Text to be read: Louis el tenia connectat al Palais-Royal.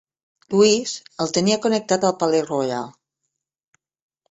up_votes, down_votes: 1, 2